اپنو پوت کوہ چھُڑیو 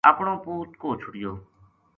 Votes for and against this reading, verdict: 2, 0, accepted